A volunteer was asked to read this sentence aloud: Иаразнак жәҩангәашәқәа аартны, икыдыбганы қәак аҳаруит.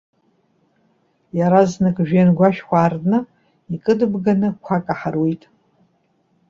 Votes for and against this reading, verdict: 2, 0, accepted